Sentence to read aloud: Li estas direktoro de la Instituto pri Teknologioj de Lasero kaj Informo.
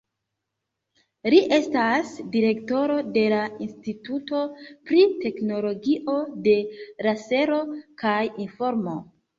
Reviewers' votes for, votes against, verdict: 1, 3, rejected